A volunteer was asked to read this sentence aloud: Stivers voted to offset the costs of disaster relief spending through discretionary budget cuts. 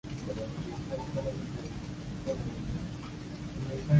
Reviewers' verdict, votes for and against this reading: rejected, 0, 2